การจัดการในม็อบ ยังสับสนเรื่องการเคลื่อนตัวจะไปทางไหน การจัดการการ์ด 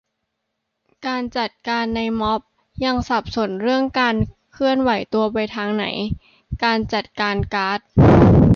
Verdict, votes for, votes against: rejected, 0, 2